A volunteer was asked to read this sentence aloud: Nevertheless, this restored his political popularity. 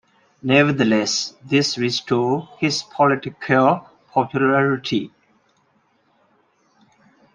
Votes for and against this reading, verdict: 2, 0, accepted